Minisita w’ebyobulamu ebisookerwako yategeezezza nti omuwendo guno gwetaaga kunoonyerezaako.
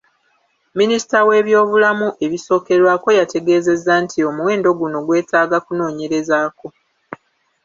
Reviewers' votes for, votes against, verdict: 1, 2, rejected